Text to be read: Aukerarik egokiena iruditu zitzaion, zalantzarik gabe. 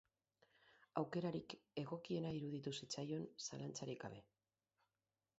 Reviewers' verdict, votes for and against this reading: rejected, 2, 4